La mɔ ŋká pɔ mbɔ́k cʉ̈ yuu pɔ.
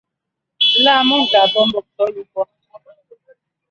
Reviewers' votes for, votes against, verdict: 0, 2, rejected